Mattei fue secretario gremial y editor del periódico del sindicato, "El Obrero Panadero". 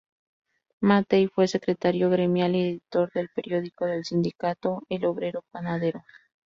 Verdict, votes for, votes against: accepted, 2, 0